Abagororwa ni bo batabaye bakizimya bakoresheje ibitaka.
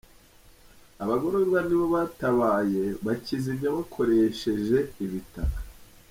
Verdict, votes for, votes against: accepted, 3, 2